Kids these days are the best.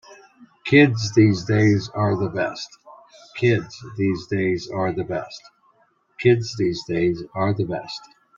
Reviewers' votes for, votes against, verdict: 0, 2, rejected